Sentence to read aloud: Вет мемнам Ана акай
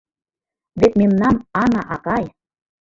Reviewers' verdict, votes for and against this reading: accepted, 2, 1